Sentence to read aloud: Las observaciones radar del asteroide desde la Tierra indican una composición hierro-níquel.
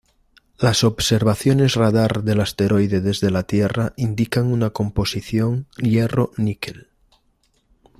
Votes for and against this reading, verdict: 2, 0, accepted